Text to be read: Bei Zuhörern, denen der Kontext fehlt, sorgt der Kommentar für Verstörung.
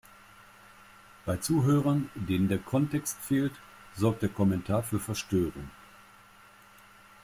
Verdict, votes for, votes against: accepted, 2, 0